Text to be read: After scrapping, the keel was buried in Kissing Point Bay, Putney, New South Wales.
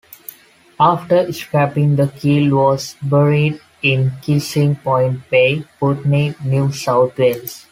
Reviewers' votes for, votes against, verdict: 2, 0, accepted